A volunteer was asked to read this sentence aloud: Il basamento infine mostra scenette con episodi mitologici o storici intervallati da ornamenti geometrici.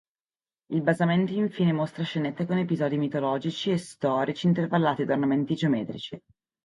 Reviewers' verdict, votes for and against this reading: rejected, 1, 2